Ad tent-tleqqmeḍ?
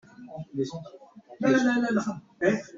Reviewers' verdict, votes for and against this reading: rejected, 0, 2